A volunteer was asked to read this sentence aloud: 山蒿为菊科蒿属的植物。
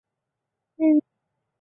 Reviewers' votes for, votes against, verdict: 0, 3, rejected